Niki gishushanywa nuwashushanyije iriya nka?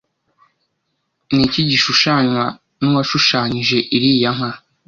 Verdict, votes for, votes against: rejected, 1, 2